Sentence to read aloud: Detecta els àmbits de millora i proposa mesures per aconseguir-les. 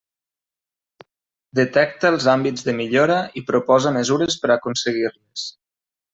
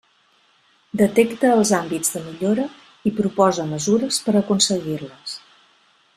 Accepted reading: second